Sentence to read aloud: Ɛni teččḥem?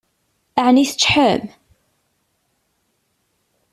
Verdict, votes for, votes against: accepted, 2, 0